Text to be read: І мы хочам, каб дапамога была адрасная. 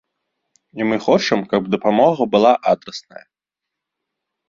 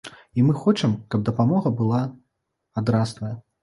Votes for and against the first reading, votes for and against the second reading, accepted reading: 2, 1, 0, 2, first